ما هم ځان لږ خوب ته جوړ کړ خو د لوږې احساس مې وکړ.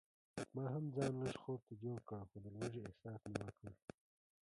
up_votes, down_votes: 0, 2